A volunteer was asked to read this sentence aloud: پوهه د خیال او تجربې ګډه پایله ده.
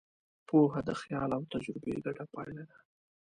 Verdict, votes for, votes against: accepted, 2, 0